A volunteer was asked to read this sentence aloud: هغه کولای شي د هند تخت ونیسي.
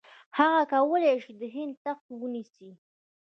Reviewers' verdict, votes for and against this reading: rejected, 1, 2